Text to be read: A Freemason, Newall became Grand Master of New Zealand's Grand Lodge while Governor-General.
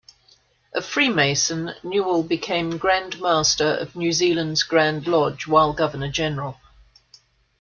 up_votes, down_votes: 2, 0